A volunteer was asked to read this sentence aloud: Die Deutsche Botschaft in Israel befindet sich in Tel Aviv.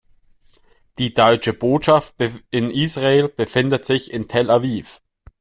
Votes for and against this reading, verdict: 2, 0, accepted